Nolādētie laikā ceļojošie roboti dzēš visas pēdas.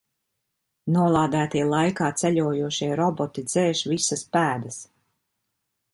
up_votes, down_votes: 2, 0